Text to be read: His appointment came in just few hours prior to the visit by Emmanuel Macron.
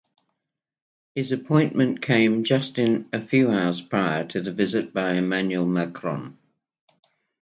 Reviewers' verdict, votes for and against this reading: accepted, 2, 0